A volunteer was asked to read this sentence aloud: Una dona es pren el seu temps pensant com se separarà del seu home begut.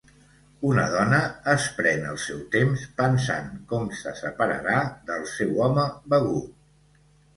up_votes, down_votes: 2, 0